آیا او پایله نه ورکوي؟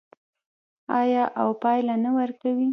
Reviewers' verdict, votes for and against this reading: rejected, 1, 2